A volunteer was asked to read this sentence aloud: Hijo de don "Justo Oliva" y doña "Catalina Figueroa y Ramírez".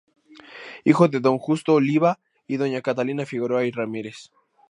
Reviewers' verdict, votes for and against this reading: accepted, 4, 0